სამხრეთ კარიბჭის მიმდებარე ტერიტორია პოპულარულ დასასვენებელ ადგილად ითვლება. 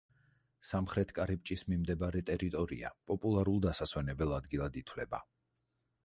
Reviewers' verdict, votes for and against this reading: accepted, 4, 0